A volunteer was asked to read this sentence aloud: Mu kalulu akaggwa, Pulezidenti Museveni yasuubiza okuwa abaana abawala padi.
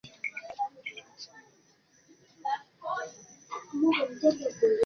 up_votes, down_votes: 0, 2